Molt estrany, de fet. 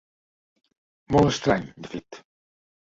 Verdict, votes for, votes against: accepted, 2, 0